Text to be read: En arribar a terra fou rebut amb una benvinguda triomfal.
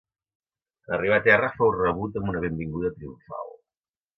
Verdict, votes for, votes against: rejected, 0, 2